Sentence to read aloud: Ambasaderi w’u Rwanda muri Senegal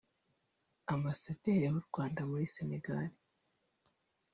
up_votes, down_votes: 0, 2